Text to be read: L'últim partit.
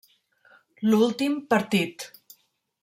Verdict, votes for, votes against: accepted, 3, 0